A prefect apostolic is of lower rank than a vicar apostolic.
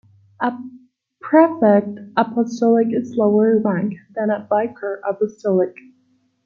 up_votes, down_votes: 1, 2